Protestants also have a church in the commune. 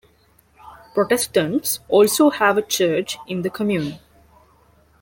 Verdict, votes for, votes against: rejected, 1, 2